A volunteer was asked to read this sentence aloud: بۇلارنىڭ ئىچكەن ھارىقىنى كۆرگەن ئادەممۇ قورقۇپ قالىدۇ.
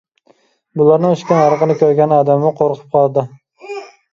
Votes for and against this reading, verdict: 2, 1, accepted